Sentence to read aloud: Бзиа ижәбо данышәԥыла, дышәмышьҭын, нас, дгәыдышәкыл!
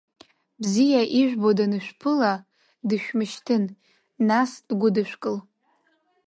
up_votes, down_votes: 2, 0